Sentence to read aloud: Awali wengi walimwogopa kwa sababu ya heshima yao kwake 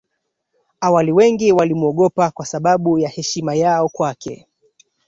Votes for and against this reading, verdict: 2, 1, accepted